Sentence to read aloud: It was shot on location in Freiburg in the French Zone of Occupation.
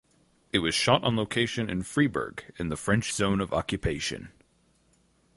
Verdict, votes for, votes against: rejected, 2, 2